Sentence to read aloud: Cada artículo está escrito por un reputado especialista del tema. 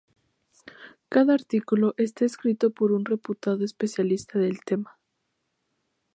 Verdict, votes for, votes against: accepted, 2, 0